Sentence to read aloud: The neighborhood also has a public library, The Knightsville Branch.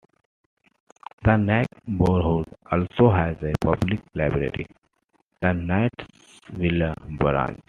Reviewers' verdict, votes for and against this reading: accepted, 2, 1